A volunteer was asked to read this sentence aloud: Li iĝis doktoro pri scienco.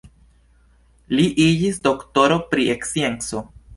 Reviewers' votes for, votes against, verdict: 1, 2, rejected